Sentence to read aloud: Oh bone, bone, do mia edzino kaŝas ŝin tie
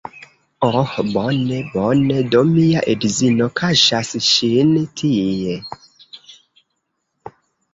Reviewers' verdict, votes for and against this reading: accepted, 2, 0